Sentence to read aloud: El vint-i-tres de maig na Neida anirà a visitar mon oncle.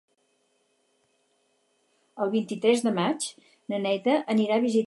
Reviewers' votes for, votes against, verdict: 0, 4, rejected